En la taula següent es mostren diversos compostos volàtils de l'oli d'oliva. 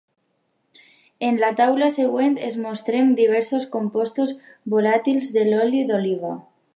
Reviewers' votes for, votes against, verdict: 2, 0, accepted